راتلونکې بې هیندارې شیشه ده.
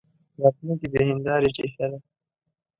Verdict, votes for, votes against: rejected, 1, 2